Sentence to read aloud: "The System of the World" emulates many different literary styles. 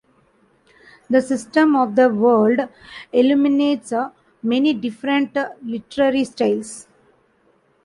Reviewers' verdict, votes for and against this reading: rejected, 1, 2